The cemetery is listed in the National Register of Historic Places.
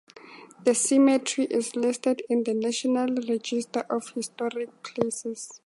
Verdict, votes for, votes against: accepted, 2, 0